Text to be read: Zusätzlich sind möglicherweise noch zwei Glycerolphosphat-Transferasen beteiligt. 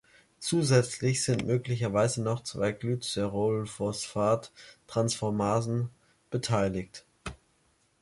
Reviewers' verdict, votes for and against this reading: rejected, 1, 3